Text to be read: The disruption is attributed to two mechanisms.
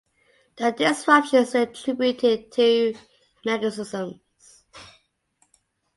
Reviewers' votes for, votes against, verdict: 1, 2, rejected